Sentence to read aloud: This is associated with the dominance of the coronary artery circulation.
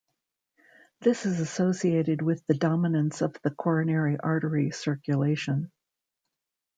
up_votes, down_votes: 0, 2